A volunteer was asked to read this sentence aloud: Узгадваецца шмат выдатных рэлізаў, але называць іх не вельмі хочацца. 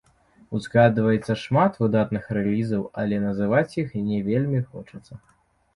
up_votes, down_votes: 0, 3